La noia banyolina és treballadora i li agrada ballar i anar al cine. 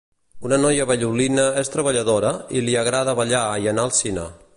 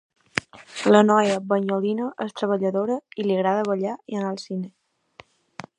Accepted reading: second